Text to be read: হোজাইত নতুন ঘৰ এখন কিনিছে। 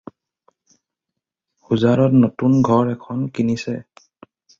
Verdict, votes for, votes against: rejected, 0, 4